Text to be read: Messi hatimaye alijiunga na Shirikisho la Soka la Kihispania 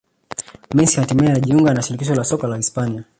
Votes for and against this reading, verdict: 1, 2, rejected